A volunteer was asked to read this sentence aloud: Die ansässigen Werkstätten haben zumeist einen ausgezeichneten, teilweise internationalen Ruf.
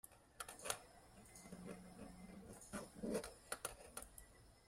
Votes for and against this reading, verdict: 1, 2, rejected